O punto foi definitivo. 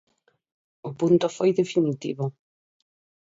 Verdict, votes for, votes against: accepted, 4, 0